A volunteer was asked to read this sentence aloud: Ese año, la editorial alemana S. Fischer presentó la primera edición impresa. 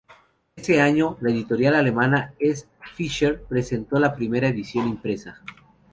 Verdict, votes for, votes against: accepted, 2, 0